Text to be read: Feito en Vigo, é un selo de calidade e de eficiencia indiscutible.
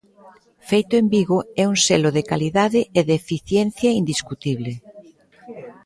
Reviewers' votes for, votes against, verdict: 2, 0, accepted